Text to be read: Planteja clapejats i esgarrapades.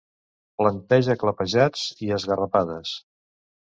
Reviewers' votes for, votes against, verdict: 2, 0, accepted